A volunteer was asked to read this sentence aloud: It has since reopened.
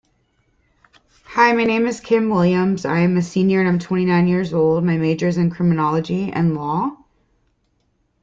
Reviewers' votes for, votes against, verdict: 0, 2, rejected